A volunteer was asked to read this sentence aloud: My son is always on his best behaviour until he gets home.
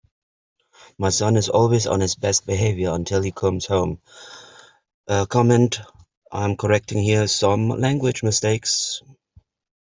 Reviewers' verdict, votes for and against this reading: rejected, 0, 2